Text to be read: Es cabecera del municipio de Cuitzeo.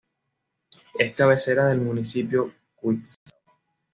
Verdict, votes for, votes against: accepted, 2, 0